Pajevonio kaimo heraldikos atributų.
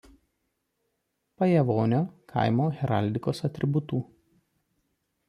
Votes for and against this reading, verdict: 2, 0, accepted